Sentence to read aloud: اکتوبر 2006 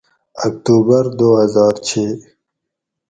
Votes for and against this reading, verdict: 0, 2, rejected